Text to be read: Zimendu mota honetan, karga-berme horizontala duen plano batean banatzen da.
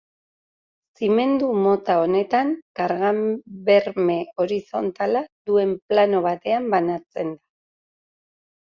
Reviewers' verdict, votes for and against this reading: rejected, 0, 2